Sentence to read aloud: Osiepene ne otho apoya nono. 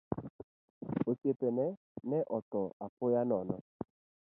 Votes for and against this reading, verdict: 0, 2, rejected